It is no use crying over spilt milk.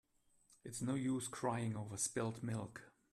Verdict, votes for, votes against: accepted, 2, 0